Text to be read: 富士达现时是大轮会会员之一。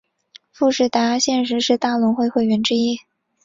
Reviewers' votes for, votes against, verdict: 2, 0, accepted